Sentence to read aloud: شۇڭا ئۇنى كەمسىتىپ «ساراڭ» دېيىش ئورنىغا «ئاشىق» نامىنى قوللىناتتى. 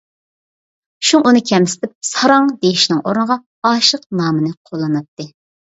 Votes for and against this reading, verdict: 0, 2, rejected